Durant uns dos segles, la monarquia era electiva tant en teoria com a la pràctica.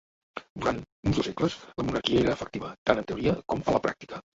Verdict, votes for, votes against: accepted, 2, 1